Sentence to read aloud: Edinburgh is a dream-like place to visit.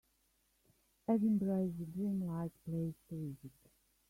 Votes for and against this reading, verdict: 0, 2, rejected